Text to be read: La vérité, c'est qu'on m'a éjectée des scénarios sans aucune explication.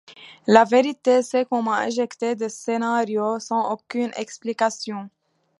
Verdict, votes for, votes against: accepted, 2, 0